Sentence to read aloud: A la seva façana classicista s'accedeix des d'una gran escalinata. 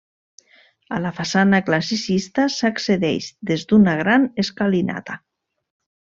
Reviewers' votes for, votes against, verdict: 0, 2, rejected